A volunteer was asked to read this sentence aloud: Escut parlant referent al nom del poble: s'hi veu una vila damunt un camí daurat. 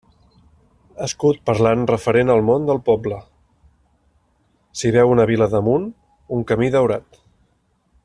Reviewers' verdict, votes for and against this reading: rejected, 0, 2